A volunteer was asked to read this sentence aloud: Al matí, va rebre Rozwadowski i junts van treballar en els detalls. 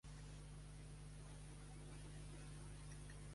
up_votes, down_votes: 1, 2